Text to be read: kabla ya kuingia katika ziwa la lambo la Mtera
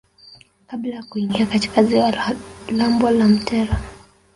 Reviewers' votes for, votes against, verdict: 1, 2, rejected